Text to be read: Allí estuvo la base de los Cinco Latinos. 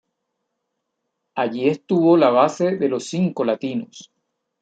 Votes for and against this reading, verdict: 2, 0, accepted